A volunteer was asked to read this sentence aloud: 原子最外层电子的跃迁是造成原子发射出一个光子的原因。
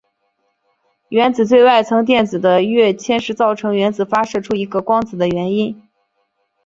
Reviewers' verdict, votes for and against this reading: accepted, 2, 0